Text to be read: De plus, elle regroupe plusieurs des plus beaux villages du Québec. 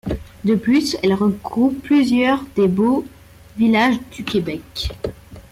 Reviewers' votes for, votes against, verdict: 1, 2, rejected